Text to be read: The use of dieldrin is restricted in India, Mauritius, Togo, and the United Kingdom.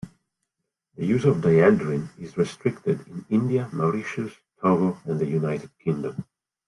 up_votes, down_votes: 2, 0